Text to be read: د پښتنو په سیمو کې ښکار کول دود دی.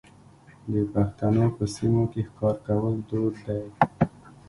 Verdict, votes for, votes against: accepted, 2, 0